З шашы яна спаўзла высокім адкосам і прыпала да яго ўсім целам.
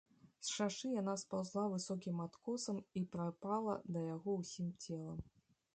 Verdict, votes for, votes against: rejected, 1, 2